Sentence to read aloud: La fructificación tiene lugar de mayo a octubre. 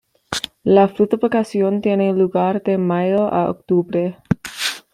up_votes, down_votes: 1, 3